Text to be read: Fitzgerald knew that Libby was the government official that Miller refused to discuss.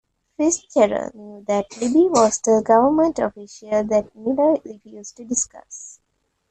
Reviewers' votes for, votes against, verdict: 2, 0, accepted